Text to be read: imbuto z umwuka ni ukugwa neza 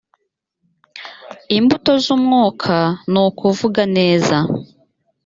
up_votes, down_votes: 1, 2